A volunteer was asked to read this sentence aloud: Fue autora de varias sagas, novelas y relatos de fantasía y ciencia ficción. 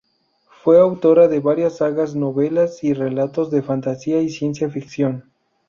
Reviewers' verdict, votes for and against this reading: accepted, 2, 0